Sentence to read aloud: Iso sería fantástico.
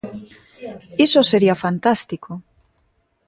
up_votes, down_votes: 2, 0